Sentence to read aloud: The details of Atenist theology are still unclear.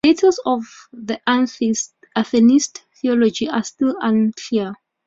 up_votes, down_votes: 2, 0